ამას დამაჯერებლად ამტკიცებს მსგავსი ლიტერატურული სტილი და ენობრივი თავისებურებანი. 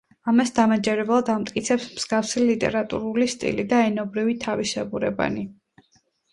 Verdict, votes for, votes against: accepted, 2, 0